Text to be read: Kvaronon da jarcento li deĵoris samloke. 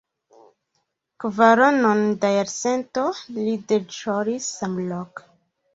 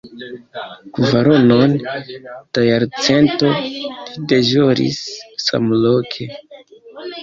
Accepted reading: second